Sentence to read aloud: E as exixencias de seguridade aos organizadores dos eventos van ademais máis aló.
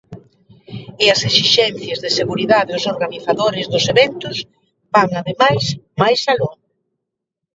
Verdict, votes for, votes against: accepted, 2, 0